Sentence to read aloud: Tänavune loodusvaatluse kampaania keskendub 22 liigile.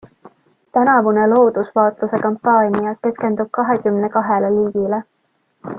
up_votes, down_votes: 0, 2